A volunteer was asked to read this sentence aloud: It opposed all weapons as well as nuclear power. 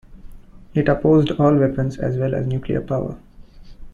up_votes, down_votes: 0, 2